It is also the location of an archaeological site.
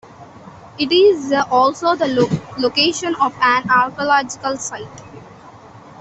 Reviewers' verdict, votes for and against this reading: accepted, 2, 0